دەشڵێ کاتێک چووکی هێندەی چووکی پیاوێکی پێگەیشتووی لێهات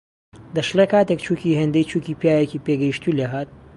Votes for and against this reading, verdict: 2, 0, accepted